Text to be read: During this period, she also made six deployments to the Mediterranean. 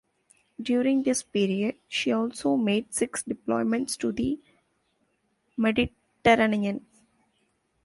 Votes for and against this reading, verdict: 2, 1, accepted